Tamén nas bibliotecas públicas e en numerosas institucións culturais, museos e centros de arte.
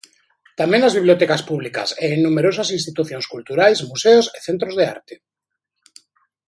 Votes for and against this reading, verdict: 0, 2, rejected